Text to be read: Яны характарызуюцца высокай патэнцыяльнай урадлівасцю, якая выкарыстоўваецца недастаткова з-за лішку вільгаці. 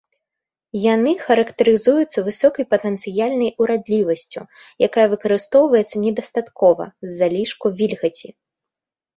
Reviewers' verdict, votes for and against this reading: accepted, 2, 0